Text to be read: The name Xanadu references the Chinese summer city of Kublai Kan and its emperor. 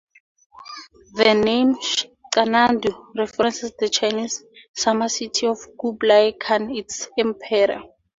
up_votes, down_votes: 2, 2